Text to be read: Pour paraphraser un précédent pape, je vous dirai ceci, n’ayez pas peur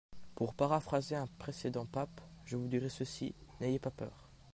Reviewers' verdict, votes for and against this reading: accepted, 2, 0